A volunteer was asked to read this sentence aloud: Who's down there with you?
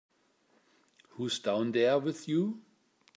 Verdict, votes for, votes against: accepted, 2, 0